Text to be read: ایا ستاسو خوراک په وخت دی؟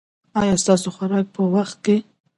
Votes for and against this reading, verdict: 2, 0, accepted